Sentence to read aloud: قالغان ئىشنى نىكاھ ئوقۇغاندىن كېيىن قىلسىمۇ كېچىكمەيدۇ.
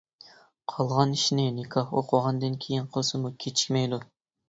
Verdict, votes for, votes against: accepted, 2, 0